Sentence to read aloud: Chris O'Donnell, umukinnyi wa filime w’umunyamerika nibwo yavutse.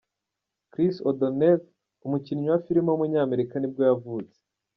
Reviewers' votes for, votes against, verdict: 2, 0, accepted